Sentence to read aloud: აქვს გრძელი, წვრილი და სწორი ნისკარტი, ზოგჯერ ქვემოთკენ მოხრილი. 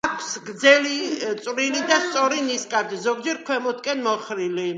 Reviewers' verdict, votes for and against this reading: rejected, 1, 2